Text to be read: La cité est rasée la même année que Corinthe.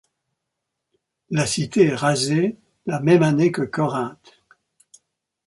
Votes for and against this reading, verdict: 2, 0, accepted